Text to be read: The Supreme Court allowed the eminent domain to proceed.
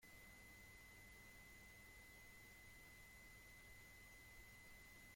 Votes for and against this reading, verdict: 0, 2, rejected